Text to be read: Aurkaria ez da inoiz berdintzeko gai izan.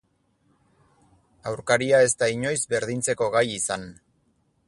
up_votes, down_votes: 4, 0